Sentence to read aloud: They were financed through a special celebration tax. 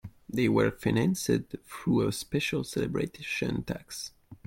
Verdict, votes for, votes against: rejected, 0, 2